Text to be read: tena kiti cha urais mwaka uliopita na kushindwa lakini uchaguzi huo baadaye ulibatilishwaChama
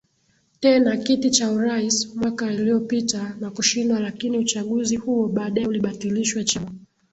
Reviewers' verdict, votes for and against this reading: accepted, 13, 1